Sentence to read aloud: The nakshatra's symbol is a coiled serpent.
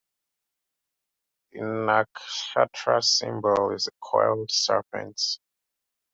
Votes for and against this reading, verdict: 2, 1, accepted